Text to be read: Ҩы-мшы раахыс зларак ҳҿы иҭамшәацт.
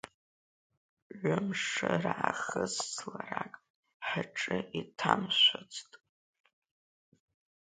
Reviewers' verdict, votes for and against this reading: accepted, 2, 0